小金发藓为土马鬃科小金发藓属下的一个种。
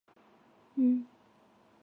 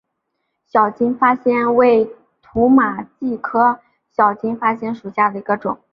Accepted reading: second